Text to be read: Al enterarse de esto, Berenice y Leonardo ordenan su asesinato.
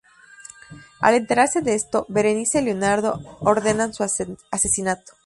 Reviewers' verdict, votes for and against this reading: rejected, 0, 2